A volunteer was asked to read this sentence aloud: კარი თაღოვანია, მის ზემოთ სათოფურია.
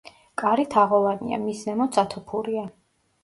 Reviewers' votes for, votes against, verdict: 2, 0, accepted